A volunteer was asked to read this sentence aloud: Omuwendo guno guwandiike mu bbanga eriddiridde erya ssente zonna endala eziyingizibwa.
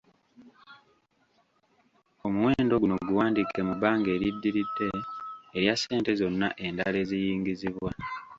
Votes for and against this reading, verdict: 1, 2, rejected